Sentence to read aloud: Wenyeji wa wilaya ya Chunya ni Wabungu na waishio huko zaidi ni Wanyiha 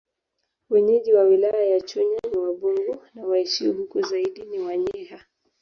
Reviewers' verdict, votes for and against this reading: rejected, 1, 2